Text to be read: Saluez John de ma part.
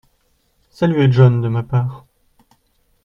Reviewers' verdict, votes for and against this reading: accepted, 2, 1